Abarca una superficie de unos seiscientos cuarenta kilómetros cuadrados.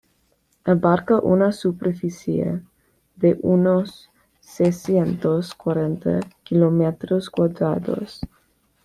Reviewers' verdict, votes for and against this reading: rejected, 1, 2